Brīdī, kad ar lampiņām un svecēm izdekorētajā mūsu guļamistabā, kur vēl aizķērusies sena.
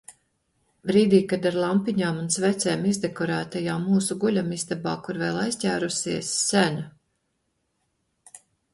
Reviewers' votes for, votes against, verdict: 2, 1, accepted